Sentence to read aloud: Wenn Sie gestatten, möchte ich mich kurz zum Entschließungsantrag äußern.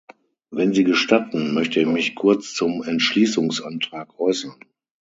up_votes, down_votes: 6, 0